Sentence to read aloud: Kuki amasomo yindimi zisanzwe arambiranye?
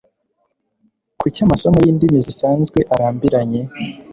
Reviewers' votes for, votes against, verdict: 2, 0, accepted